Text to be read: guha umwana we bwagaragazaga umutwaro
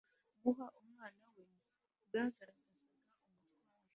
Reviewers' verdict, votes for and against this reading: rejected, 0, 2